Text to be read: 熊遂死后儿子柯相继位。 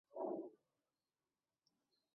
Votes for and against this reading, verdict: 1, 2, rejected